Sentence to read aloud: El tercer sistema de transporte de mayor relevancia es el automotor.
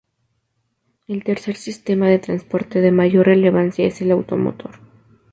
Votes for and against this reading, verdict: 2, 0, accepted